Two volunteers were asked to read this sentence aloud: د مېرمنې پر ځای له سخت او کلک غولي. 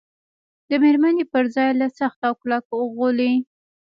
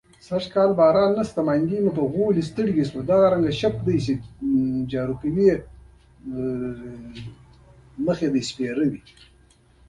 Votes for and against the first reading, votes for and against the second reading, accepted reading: 2, 1, 1, 2, first